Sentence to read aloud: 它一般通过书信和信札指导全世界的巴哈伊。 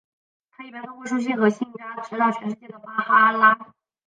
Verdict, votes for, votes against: rejected, 0, 2